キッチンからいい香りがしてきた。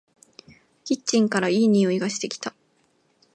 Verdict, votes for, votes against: rejected, 0, 2